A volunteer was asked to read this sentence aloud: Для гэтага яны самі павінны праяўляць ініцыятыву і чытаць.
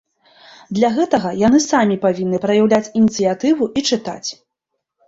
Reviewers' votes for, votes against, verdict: 3, 0, accepted